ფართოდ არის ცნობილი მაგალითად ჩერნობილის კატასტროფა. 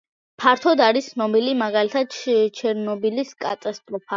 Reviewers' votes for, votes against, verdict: 2, 0, accepted